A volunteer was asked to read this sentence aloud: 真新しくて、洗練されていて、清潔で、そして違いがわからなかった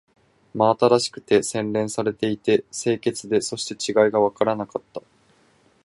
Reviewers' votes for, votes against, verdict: 4, 0, accepted